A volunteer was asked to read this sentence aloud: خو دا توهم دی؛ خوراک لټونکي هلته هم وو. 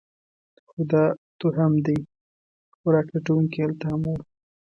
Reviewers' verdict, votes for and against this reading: accepted, 2, 0